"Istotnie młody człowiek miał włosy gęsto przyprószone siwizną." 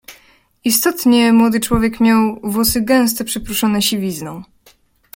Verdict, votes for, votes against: accepted, 2, 0